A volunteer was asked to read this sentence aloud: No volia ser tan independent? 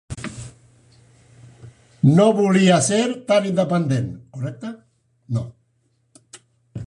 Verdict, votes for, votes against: rejected, 1, 2